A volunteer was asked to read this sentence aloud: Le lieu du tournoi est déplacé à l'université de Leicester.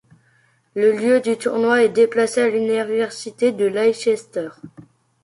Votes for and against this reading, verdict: 0, 2, rejected